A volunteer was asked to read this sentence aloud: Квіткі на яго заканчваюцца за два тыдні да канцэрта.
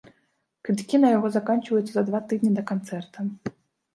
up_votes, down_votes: 1, 2